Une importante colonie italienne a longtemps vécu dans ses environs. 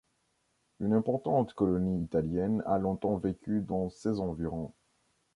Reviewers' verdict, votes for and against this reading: accepted, 2, 0